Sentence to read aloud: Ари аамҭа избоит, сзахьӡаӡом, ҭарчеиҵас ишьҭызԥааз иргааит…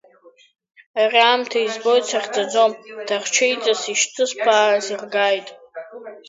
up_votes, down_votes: 0, 2